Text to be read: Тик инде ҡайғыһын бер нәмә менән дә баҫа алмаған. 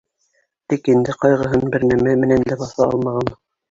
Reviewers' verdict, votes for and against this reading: accepted, 2, 1